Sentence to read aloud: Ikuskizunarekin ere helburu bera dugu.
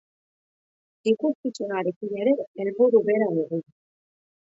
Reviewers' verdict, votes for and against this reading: rejected, 0, 2